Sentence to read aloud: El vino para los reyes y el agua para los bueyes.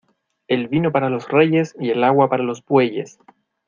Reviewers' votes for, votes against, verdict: 2, 0, accepted